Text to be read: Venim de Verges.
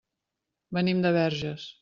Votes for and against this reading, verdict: 3, 0, accepted